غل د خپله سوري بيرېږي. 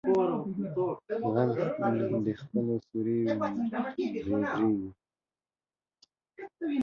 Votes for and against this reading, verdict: 1, 2, rejected